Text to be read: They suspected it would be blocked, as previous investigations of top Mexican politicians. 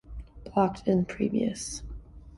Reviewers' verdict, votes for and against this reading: rejected, 0, 2